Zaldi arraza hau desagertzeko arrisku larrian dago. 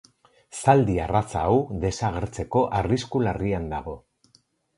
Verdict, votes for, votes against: rejected, 2, 2